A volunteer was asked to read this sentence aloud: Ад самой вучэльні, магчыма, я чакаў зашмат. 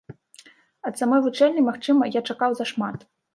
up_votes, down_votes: 2, 0